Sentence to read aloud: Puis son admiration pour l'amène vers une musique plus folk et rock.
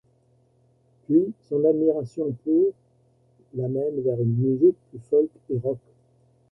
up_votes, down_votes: 0, 2